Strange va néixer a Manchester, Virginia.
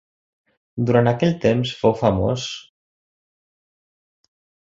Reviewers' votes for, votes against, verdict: 0, 2, rejected